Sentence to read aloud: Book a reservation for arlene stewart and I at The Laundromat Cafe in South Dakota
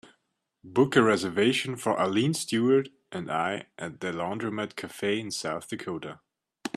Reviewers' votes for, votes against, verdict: 2, 0, accepted